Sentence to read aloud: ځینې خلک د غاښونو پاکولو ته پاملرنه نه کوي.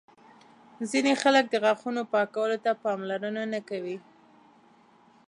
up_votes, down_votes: 2, 0